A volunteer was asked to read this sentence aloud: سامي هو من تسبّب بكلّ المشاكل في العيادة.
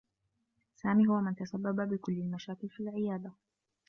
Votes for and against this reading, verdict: 2, 0, accepted